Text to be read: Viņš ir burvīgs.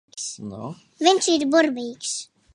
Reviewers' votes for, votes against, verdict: 1, 2, rejected